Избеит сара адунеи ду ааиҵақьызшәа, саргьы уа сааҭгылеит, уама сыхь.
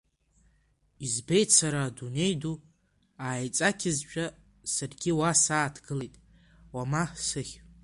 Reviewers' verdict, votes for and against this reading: rejected, 1, 2